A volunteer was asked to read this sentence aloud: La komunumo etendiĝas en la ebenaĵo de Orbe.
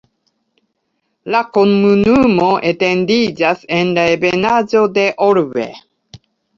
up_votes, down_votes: 2, 1